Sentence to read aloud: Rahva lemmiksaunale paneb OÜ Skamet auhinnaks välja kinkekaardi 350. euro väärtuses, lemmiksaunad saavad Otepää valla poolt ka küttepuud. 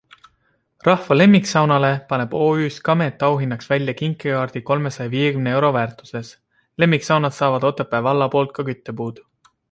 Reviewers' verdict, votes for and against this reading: rejected, 0, 2